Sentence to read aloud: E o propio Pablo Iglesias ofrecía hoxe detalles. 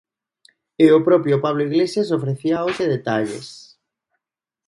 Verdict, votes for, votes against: accepted, 2, 0